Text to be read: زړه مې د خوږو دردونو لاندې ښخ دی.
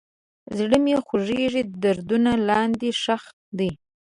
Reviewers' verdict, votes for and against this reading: rejected, 1, 2